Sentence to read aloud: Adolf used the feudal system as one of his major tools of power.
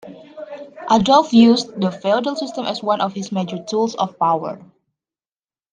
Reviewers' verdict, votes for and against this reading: accepted, 2, 0